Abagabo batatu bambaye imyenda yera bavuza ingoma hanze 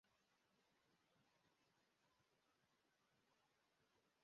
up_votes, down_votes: 0, 2